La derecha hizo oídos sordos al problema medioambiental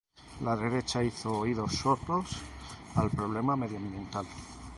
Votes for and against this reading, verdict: 2, 0, accepted